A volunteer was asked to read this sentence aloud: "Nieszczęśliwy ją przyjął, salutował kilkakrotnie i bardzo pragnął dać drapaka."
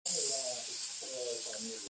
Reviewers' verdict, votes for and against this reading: rejected, 0, 2